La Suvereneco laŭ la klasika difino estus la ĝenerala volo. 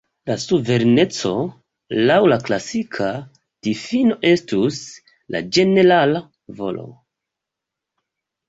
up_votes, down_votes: 2, 1